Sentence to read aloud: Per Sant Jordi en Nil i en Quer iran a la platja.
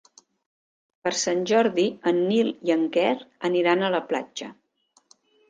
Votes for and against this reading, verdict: 0, 2, rejected